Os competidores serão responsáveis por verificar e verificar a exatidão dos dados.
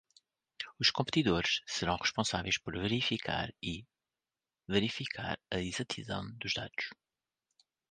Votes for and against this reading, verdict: 1, 2, rejected